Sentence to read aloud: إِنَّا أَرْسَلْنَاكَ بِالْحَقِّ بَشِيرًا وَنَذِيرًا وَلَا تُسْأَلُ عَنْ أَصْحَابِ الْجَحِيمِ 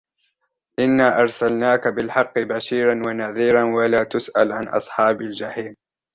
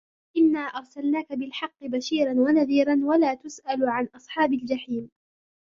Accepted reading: first